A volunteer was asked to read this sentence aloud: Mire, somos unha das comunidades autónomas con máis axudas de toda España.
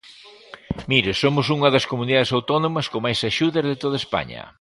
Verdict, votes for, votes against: accepted, 2, 0